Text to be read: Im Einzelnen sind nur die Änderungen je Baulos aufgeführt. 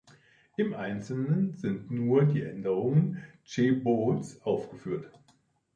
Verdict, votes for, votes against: rejected, 0, 2